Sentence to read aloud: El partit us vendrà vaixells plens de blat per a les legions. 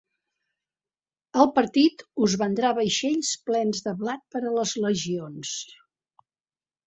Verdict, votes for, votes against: accepted, 3, 0